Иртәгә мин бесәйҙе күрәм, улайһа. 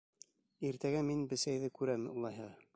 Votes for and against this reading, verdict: 2, 0, accepted